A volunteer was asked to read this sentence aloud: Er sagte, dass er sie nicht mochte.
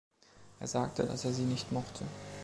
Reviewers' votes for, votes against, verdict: 2, 0, accepted